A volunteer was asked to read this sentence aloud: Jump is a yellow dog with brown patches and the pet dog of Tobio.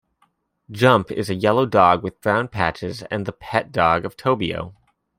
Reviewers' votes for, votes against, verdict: 2, 0, accepted